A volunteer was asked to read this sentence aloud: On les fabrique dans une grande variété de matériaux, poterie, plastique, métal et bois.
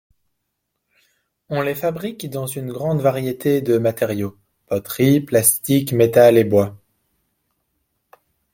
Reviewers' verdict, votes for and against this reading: accepted, 2, 0